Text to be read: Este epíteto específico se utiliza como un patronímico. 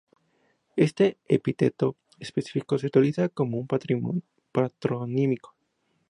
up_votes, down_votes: 2, 0